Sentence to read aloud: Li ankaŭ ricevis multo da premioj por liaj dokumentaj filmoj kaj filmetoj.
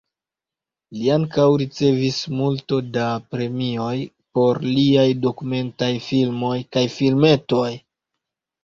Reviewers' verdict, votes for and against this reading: rejected, 1, 2